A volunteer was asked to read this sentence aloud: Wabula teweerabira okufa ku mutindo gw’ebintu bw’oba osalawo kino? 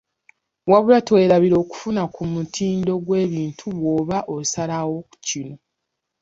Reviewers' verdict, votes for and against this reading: rejected, 0, 2